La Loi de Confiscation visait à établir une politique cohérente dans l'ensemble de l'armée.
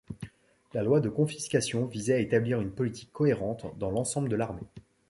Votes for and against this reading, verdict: 2, 0, accepted